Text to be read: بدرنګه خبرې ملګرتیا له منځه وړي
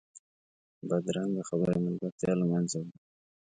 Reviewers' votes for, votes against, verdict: 2, 0, accepted